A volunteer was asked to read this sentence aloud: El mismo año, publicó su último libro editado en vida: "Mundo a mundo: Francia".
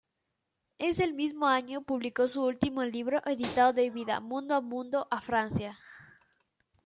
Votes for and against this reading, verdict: 1, 2, rejected